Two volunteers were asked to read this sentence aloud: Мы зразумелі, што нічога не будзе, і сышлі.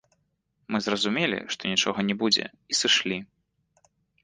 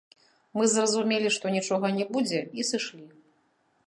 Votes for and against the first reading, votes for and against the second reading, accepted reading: 2, 0, 1, 2, first